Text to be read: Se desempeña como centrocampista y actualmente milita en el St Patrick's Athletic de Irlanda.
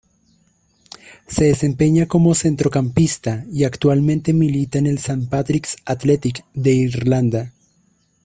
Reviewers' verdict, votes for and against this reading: accepted, 2, 0